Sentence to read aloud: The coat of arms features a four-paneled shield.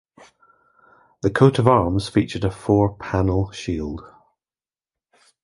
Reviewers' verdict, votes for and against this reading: accepted, 2, 1